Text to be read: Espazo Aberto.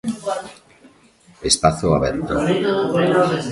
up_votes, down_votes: 1, 2